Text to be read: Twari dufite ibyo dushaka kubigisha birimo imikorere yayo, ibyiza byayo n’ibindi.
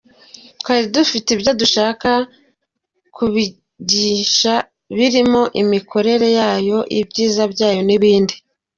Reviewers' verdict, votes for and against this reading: accepted, 2, 1